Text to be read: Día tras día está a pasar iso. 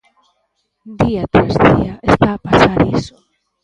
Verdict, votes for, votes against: rejected, 0, 2